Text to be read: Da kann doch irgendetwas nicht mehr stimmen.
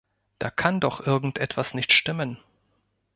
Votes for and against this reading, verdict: 0, 3, rejected